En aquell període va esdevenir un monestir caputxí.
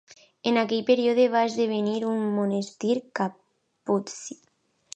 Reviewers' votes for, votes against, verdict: 0, 2, rejected